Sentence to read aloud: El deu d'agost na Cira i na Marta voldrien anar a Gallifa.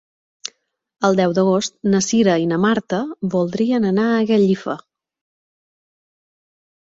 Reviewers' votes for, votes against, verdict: 3, 0, accepted